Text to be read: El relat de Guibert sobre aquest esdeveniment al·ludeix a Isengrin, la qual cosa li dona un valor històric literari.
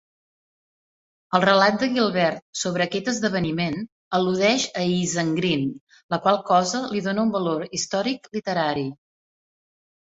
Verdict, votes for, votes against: rejected, 0, 2